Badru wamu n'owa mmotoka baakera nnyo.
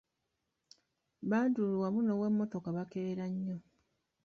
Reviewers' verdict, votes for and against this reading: rejected, 0, 2